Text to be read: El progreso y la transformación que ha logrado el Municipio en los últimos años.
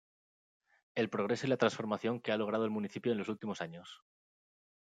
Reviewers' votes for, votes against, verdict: 0, 2, rejected